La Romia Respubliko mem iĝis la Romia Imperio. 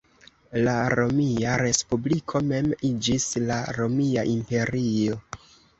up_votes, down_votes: 2, 1